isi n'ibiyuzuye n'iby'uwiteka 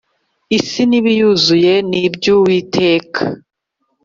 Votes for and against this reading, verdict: 3, 0, accepted